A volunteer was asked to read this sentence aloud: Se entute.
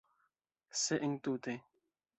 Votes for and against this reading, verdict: 1, 2, rejected